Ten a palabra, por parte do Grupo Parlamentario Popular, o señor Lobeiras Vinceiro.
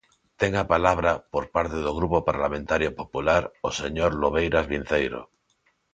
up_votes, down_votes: 2, 0